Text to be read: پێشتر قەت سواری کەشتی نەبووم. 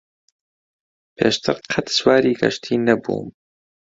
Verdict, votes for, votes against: accepted, 2, 0